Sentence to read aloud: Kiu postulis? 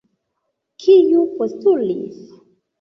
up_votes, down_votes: 2, 0